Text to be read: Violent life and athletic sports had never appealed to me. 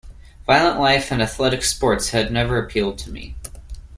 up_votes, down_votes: 2, 1